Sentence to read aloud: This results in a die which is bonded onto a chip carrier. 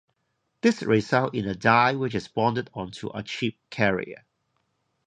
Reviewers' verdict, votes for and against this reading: rejected, 0, 2